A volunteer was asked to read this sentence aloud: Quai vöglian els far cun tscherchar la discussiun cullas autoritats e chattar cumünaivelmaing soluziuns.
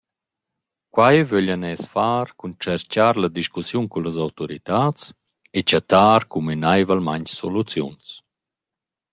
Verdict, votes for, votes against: rejected, 1, 2